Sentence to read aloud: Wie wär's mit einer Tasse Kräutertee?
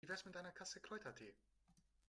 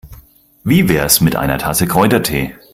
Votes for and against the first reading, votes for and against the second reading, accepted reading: 0, 2, 4, 0, second